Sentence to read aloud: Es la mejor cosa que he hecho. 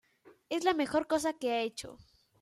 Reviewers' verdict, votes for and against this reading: rejected, 1, 2